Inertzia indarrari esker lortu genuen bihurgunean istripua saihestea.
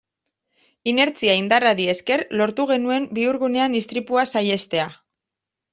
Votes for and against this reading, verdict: 2, 0, accepted